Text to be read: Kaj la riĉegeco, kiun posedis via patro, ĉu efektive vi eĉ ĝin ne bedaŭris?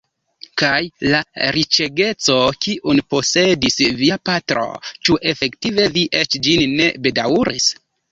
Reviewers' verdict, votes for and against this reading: rejected, 1, 2